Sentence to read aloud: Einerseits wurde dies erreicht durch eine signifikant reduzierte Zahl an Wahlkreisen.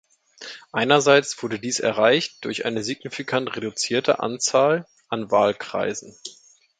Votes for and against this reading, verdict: 0, 2, rejected